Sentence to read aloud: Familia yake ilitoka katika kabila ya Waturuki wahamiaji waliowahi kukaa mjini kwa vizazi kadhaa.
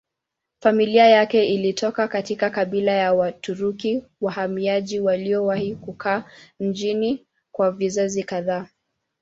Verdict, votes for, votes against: rejected, 0, 2